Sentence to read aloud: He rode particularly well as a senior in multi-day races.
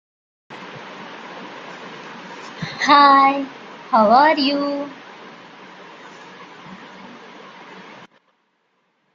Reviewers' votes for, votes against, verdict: 1, 3, rejected